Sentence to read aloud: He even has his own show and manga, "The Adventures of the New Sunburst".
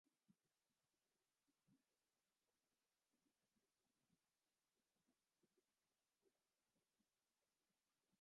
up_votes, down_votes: 0, 2